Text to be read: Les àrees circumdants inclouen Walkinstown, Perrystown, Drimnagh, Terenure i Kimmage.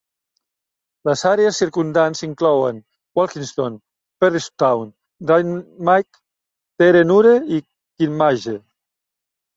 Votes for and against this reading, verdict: 0, 2, rejected